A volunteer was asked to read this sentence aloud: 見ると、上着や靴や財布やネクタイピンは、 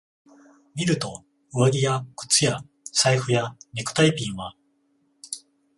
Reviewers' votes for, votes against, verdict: 14, 0, accepted